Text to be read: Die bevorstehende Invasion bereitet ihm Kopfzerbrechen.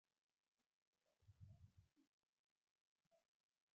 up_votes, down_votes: 0, 2